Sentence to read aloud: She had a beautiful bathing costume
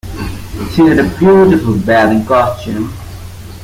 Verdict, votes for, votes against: rejected, 0, 2